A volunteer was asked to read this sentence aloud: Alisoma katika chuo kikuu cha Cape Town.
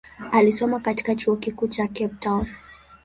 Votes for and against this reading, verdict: 14, 3, accepted